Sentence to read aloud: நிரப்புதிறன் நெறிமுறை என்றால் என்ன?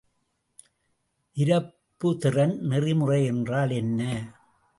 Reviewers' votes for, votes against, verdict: 2, 0, accepted